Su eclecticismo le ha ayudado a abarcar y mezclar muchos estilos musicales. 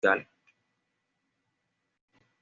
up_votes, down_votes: 1, 2